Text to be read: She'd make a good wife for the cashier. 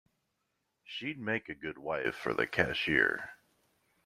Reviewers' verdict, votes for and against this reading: accepted, 2, 0